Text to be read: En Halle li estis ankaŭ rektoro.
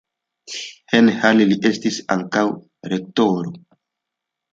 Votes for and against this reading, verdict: 3, 1, accepted